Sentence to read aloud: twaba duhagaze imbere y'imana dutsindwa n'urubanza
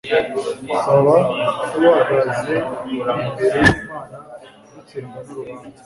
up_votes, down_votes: 0, 2